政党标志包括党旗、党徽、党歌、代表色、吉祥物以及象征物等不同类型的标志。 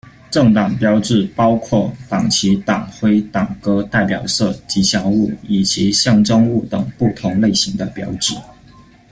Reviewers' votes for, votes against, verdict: 2, 0, accepted